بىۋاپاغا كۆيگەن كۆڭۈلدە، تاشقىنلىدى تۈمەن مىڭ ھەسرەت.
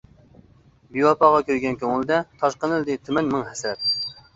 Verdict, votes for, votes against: rejected, 0, 2